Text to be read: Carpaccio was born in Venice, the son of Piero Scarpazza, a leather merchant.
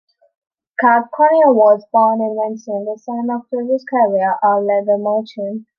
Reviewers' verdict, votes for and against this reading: rejected, 0, 2